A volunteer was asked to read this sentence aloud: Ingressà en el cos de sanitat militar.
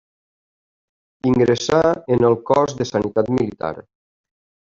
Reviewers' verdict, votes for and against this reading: accepted, 3, 1